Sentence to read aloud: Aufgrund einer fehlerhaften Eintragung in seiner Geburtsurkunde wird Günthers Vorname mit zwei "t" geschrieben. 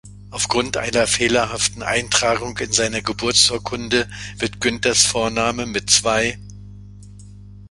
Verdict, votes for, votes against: rejected, 0, 2